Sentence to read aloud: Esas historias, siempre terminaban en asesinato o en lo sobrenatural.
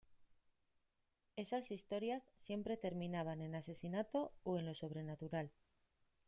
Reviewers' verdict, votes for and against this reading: rejected, 0, 2